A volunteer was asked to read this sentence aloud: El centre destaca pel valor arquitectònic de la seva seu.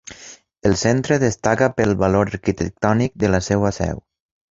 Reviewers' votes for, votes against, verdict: 1, 2, rejected